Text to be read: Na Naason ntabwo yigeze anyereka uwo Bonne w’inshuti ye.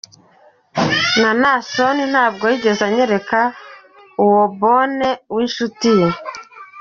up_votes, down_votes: 3, 0